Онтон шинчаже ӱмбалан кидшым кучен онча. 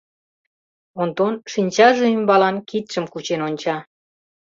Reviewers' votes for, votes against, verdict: 2, 0, accepted